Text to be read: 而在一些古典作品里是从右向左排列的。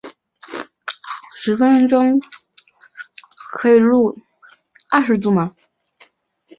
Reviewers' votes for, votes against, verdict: 0, 3, rejected